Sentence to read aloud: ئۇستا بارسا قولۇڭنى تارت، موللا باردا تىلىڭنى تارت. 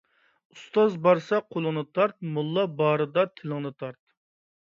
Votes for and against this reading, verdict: 0, 2, rejected